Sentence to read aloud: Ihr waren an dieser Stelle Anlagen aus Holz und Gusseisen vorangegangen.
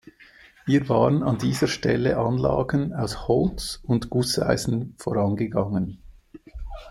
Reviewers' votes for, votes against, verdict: 2, 0, accepted